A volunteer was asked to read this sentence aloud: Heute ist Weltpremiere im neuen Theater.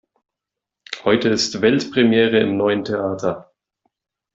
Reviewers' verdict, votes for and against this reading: accepted, 2, 0